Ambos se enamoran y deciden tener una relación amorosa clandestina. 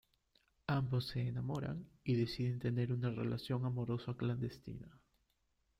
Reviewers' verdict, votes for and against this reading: accepted, 2, 0